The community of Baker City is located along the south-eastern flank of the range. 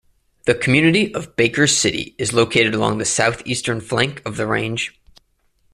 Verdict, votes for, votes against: accepted, 2, 0